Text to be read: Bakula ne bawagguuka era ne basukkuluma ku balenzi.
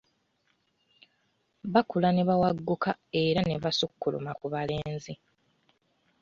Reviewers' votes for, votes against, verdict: 2, 0, accepted